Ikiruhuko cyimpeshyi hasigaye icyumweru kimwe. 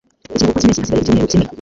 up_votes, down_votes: 0, 2